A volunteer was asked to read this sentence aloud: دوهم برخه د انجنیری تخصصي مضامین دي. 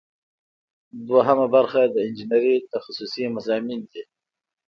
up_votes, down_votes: 2, 0